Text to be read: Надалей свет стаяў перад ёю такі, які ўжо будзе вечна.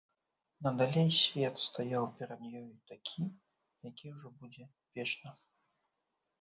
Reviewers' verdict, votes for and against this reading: rejected, 1, 2